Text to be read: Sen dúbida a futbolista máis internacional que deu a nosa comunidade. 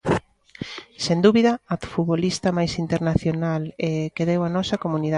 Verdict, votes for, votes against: rejected, 0, 2